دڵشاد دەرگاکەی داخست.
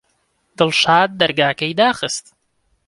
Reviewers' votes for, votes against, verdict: 2, 0, accepted